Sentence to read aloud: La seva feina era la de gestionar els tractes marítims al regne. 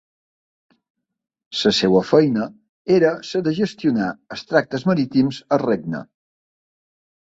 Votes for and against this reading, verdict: 0, 2, rejected